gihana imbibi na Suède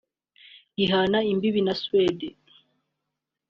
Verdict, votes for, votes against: accepted, 2, 0